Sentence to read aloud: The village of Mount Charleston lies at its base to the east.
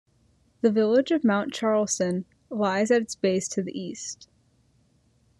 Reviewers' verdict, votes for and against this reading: accepted, 2, 0